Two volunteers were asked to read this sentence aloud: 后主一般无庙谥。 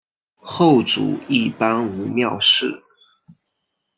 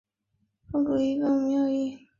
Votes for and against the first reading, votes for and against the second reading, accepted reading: 2, 0, 2, 2, first